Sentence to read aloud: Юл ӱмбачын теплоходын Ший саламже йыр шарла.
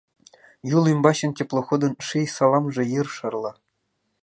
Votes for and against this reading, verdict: 2, 0, accepted